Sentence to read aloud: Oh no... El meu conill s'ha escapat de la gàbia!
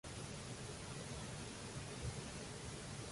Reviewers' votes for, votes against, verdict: 0, 2, rejected